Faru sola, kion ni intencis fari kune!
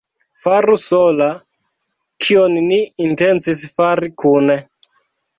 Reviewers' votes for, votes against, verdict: 2, 1, accepted